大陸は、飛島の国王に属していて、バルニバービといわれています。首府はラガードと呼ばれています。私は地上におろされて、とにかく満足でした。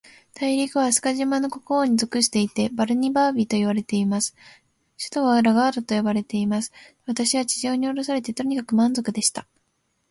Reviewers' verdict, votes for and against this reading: rejected, 0, 2